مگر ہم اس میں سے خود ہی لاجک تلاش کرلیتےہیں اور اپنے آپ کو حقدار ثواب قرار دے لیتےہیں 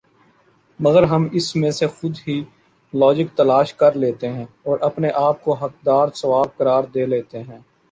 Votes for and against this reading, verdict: 2, 0, accepted